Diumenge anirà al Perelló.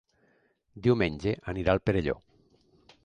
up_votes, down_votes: 3, 0